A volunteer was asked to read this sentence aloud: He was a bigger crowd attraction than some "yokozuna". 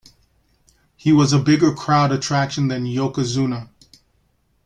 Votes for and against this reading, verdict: 0, 2, rejected